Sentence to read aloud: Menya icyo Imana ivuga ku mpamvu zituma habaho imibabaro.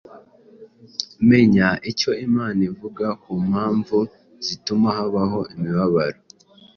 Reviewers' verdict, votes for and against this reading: accepted, 2, 0